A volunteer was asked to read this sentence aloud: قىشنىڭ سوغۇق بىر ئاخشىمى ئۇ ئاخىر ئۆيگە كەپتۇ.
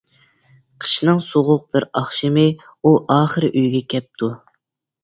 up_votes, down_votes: 2, 0